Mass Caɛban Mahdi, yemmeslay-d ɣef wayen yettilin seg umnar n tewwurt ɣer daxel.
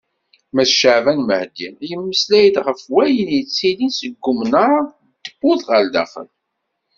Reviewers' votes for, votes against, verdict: 2, 0, accepted